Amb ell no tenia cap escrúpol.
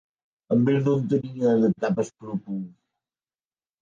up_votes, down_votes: 1, 2